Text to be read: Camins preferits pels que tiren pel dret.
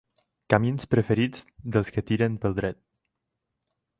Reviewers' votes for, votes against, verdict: 2, 4, rejected